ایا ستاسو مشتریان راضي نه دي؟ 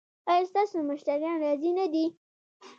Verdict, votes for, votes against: accepted, 2, 1